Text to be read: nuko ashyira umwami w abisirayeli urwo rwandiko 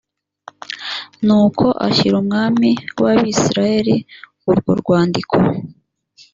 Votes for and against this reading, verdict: 2, 0, accepted